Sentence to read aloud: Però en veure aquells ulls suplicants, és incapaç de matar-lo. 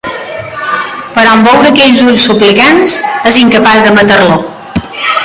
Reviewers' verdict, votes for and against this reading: accepted, 2, 0